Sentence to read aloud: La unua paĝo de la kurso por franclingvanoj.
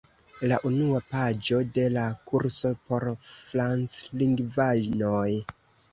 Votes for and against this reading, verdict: 2, 1, accepted